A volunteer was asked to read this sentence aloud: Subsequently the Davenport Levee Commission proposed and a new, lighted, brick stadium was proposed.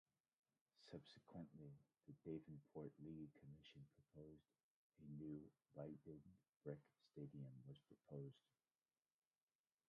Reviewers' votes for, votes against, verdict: 1, 2, rejected